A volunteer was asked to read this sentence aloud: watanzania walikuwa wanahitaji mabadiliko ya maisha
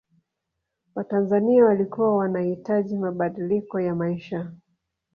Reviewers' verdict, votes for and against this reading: rejected, 1, 2